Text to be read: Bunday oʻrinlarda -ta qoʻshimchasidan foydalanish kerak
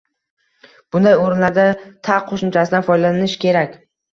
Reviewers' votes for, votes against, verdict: 2, 0, accepted